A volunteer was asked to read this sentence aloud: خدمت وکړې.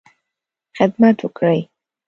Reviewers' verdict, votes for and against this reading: rejected, 1, 2